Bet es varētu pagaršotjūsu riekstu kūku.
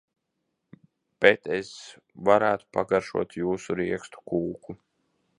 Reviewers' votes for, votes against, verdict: 3, 0, accepted